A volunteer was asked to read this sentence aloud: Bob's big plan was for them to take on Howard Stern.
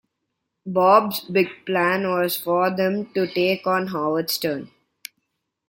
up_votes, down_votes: 2, 0